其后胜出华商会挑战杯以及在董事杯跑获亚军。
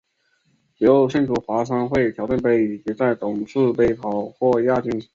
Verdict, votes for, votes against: rejected, 0, 3